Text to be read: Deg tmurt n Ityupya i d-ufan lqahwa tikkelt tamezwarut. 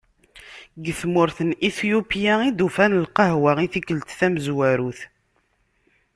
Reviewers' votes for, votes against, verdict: 0, 2, rejected